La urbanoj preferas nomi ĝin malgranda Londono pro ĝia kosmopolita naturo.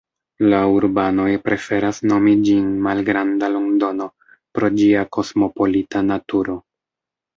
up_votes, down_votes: 1, 2